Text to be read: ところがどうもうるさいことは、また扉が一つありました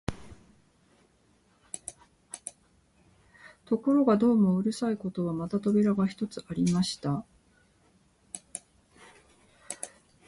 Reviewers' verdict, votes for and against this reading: rejected, 2, 2